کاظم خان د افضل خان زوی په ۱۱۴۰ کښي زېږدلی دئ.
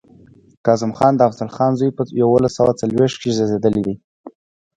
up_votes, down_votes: 0, 2